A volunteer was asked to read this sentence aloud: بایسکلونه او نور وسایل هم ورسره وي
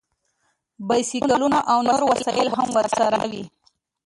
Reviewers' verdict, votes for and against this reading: accepted, 2, 0